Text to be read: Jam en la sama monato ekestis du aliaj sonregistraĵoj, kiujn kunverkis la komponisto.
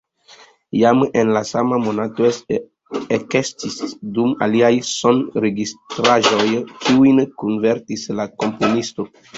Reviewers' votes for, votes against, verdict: 1, 2, rejected